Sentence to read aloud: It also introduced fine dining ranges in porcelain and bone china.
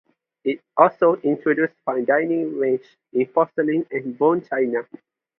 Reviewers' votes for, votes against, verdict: 0, 2, rejected